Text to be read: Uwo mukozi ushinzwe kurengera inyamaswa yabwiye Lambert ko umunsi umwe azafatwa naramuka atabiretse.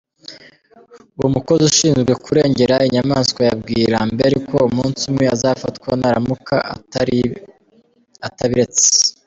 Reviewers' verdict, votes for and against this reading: accepted, 2, 0